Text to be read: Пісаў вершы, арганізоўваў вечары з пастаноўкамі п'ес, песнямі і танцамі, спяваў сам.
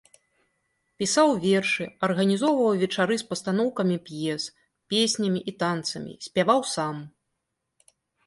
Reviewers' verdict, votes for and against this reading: accepted, 2, 0